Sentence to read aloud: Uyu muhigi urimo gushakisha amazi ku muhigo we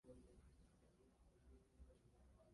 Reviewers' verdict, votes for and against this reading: rejected, 0, 2